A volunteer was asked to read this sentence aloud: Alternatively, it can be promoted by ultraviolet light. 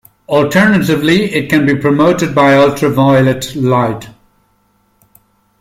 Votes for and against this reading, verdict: 2, 0, accepted